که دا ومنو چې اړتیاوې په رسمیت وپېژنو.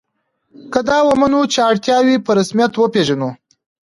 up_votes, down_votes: 2, 0